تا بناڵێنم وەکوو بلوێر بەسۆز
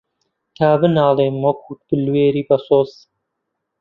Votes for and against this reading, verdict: 0, 2, rejected